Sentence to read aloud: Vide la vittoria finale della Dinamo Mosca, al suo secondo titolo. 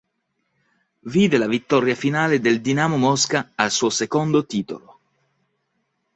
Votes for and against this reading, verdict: 1, 2, rejected